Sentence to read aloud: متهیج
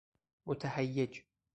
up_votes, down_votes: 0, 2